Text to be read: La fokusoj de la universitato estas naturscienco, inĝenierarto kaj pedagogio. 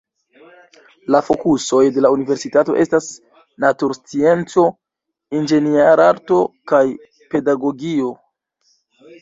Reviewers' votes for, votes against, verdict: 0, 2, rejected